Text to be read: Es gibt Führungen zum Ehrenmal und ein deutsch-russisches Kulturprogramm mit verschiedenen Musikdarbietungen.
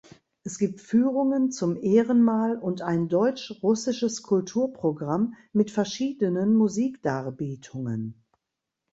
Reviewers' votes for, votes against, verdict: 2, 0, accepted